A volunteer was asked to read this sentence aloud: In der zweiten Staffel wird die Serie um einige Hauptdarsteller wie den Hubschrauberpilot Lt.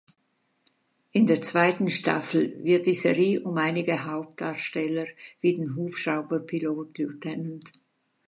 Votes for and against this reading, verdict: 0, 2, rejected